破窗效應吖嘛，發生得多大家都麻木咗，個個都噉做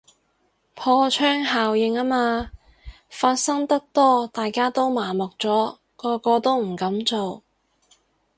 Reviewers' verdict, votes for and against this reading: accepted, 4, 0